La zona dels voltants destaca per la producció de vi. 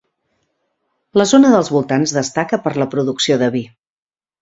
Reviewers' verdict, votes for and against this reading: accepted, 4, 0